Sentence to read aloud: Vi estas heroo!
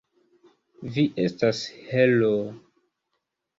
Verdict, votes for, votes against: accepted, 2, 0